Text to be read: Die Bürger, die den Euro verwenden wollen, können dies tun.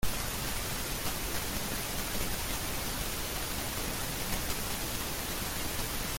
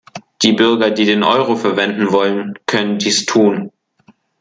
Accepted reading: second